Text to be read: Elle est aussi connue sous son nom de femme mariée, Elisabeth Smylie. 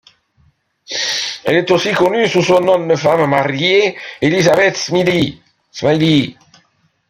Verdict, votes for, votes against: rejected, 0, 2